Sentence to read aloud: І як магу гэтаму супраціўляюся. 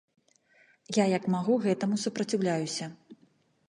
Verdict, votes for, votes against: rejected, 1, 2